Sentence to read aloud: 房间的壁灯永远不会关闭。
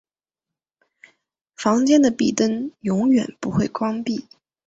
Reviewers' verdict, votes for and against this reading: accepted, 2, 0